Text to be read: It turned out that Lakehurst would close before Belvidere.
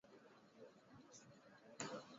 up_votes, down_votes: 0, 2